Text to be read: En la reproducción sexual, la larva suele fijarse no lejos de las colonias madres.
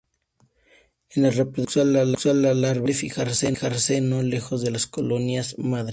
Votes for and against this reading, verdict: 0, 2, rejected